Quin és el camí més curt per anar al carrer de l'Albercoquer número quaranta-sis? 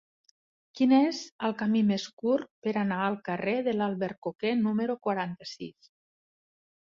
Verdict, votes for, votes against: accepted, 2, 0